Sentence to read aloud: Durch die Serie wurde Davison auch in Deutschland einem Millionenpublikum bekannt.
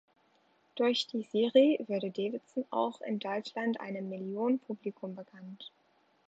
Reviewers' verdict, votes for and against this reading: rejected, 1, 3